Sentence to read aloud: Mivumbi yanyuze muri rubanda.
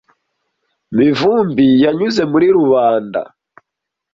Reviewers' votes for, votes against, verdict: 2, 0, accepted